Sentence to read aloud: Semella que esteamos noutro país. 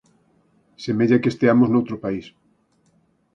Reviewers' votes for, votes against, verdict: 4, 0, accepted